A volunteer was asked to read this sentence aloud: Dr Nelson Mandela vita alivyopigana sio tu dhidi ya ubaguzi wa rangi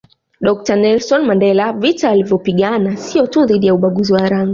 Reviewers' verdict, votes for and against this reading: accepted, 2, 1